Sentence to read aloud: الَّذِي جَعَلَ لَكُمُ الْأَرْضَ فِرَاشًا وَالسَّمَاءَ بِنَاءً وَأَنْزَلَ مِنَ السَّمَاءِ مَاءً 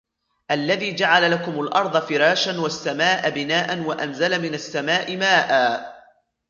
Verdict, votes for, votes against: accepted, 2, 1